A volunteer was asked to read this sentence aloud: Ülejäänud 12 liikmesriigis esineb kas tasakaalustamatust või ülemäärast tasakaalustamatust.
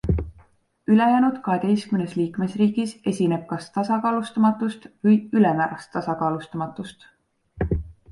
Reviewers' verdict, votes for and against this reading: rejected, 0, 2